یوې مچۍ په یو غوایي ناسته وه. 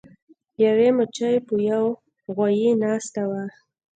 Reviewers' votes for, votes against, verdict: 2, 0, accepted